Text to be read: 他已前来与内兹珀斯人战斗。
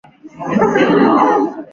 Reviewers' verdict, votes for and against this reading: rejected, 0, 2